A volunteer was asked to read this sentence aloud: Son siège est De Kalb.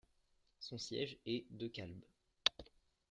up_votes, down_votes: 1, 2